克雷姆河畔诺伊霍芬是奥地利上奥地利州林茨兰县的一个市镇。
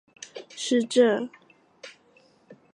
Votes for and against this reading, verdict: 0, 4, rejected